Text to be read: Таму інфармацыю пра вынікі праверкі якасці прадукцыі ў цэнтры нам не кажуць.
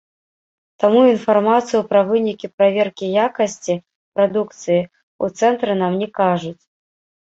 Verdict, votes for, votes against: rejected, 1, 2